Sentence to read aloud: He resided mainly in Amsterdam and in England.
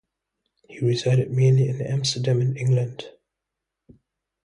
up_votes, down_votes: 0, 2